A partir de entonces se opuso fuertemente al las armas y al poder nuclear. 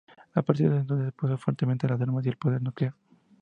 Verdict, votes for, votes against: accepted, 2, 0